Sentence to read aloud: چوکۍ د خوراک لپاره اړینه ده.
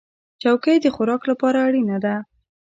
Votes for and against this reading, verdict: 2, 1, accepted